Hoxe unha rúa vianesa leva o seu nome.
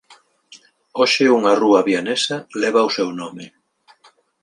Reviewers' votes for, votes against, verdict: 2, 0, accepted